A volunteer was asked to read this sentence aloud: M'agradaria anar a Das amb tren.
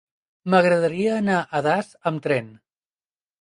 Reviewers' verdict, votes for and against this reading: accepted, 3, 0